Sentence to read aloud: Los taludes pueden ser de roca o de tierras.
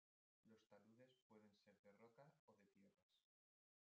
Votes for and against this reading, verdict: 0, 2, rejected